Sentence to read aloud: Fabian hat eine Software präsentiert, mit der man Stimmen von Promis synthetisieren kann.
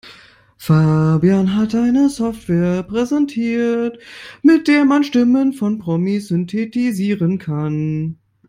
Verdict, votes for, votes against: rejected, 1, 2